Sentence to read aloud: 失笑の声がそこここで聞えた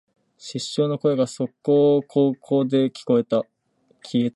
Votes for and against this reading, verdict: 0, 2, rejected